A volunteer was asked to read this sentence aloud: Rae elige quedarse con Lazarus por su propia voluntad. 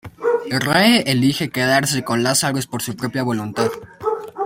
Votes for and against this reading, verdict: 1, 2, rejected